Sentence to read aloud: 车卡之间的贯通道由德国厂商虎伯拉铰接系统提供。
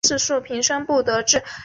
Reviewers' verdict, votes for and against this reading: rejected, 1, 3